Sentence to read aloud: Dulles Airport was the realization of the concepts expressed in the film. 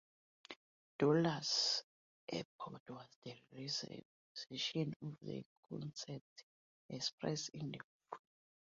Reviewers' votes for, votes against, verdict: 0, 2, rejected